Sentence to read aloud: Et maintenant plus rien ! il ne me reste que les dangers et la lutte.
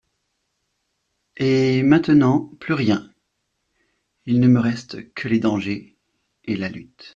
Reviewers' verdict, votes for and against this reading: accepted, 2, 0